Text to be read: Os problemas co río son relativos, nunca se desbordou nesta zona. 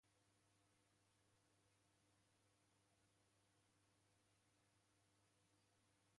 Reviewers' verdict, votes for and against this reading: rejected, 0, 2